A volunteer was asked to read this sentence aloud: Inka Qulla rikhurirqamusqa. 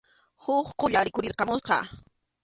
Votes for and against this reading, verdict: 0, 2, rejected